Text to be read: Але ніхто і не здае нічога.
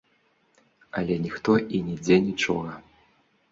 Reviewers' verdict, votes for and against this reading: rejected, 1, 2